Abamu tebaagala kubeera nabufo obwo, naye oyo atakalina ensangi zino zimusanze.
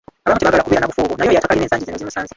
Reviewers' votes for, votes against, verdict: 0, 2, rejected